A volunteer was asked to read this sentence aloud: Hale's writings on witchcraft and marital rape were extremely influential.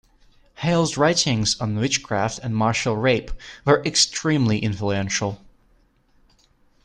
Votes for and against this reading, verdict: 1, 2, rejected